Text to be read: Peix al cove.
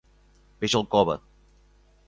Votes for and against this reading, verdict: 3, 0, accepted